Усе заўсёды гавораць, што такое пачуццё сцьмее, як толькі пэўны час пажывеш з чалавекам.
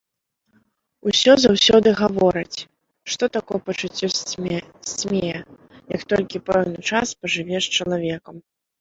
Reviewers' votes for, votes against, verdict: 0, 2, rejected